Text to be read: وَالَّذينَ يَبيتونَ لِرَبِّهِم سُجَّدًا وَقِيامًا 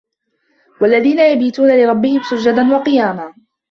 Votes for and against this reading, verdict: 1, 2, rejected